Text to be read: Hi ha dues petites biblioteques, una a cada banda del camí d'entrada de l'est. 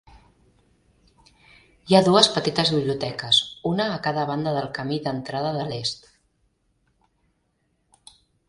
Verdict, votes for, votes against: accepted, 2, 0